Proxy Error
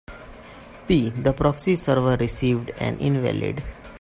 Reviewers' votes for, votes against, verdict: 2, 3, rejected